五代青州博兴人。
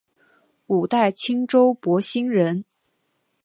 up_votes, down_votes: 2, 0